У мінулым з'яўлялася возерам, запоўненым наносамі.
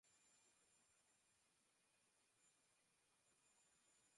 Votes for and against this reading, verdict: 1, 3, rejected